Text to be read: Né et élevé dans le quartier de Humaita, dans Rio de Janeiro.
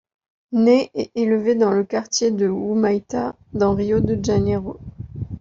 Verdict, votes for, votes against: rejected, 1, 2